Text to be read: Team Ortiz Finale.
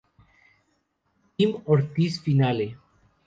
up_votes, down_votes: 0, 2